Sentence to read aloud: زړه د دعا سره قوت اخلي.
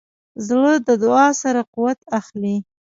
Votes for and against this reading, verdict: 2, 0, accepted